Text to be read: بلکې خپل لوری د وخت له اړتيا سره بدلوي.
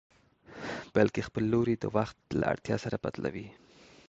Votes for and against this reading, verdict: 2, 0, accepted